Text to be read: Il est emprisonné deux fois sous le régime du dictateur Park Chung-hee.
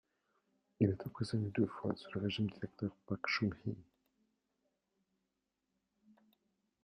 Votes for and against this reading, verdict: 1, 2, rejected